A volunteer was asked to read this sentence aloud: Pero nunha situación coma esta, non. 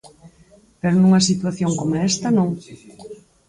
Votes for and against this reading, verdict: 4, 0, accepted